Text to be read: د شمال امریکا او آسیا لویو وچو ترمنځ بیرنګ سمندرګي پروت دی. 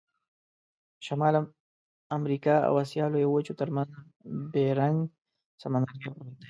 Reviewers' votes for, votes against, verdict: 2, 0, accepted